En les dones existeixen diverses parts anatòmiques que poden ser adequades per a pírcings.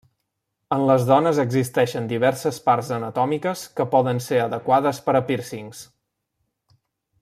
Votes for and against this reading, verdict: 3, 0, accepted